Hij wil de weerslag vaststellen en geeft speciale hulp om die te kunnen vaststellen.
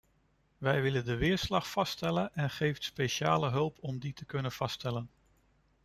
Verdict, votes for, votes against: rejected, 0, 2